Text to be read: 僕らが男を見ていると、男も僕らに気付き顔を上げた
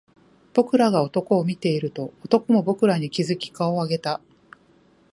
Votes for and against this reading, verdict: 0, 2, rejected